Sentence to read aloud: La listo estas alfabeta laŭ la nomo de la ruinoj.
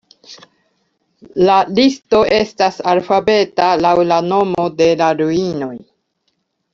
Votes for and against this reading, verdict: 2, 0, accepted